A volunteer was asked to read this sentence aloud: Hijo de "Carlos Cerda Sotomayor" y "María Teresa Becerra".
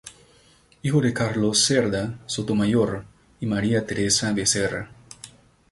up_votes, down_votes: 0, 2